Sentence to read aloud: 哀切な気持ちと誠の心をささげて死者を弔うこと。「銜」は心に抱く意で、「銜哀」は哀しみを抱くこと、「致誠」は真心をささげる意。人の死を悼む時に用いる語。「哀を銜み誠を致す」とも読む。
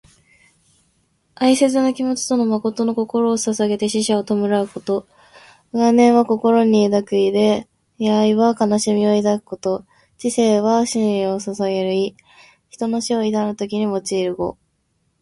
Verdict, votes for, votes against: rejected, 0, 2